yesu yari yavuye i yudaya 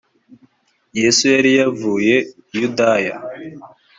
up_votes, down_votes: 2, 0